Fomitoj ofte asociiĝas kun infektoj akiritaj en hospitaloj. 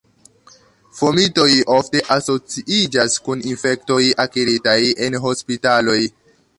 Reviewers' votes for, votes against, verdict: 2, 1, accepted